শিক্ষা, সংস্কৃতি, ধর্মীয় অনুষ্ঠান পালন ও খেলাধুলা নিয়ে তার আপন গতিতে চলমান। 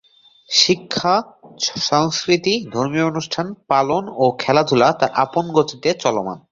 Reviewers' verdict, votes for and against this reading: rejected, 0, 2